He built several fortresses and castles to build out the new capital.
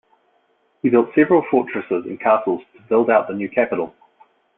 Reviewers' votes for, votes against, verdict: 3, 0, accepted